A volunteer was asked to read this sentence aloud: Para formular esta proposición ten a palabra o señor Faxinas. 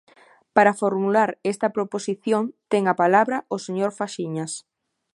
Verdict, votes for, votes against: rejected, 0, 2